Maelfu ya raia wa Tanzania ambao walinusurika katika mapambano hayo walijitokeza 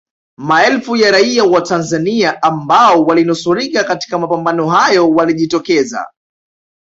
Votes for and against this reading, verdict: 2, 0, accepted